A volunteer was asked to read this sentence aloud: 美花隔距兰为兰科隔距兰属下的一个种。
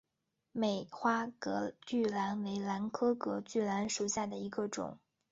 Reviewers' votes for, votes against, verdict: 2, 2, rejected